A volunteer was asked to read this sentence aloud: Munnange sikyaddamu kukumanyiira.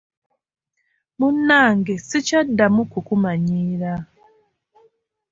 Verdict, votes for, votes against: rejected, 1, 2